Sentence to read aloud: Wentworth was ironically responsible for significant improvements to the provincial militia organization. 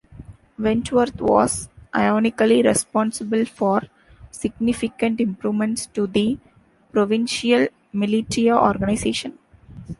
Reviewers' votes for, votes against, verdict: 2, 3, rejected